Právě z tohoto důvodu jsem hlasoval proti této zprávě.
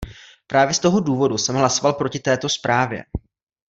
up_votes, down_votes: 1, 2